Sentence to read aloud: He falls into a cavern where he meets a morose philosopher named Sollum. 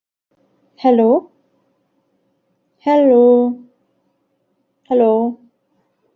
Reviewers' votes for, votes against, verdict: 0, 2, rejected